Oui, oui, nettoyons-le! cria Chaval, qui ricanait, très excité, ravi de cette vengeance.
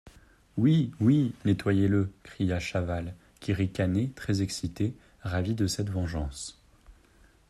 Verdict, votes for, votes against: rejected, 0, 2